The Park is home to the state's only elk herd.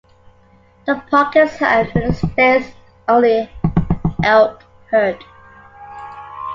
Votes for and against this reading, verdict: 1, 2, rejected